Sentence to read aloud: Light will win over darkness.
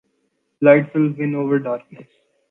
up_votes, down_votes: 2, 0